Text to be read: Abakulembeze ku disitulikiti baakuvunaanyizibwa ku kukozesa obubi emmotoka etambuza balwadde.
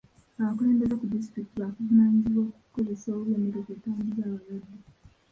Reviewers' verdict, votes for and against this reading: rejected, 0, 2